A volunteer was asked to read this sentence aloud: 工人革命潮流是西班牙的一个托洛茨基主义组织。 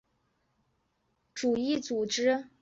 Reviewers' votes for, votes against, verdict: 0, 2, rejected